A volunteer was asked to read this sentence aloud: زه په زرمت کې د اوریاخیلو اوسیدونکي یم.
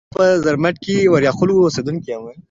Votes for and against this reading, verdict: 2, 1, accepted